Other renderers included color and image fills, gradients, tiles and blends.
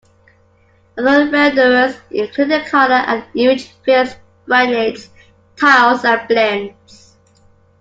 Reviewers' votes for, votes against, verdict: 2, 1, accepted